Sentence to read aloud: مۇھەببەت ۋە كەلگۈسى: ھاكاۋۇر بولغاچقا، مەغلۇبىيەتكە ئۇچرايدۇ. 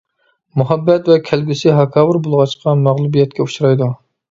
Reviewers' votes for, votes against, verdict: 2, 0, accepted